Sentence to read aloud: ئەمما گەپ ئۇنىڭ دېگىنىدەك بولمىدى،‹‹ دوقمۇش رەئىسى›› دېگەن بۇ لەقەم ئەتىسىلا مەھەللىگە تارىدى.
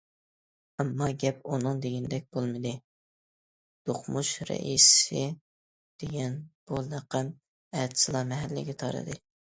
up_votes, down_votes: 2, 0